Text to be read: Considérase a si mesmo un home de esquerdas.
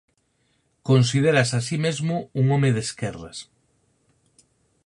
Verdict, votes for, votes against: accepted, 4, 0